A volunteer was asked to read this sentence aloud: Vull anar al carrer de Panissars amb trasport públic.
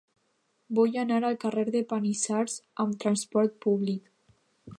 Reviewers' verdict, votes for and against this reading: accepted, 2, 0